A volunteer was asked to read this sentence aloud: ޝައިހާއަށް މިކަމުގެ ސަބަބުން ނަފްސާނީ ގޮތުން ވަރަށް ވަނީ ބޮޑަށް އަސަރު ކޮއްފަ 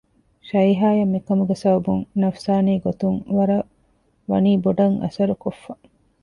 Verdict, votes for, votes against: rejected, 1, 2